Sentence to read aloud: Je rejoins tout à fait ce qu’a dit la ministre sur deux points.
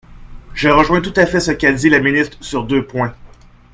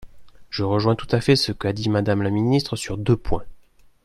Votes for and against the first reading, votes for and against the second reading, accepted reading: 2, 1, 0, 2, first